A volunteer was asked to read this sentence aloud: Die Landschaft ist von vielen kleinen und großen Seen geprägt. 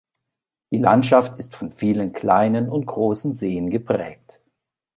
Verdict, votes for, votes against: accepted, 2, 0